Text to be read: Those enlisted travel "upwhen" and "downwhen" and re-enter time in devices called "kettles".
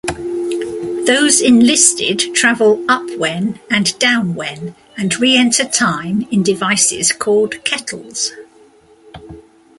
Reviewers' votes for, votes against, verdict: 2, 0, accepted